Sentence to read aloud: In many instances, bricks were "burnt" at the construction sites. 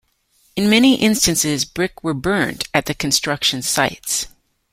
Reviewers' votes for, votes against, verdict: 0, 2, rejected